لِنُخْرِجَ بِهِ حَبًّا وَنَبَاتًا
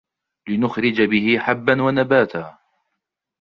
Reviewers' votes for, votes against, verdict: 2, 1, accepted